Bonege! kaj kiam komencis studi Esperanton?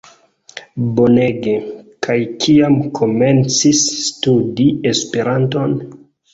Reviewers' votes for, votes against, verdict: 2, 0, accepted